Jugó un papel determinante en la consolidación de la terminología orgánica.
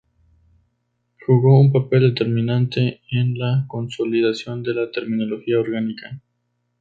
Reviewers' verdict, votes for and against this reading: accepted, 2, 0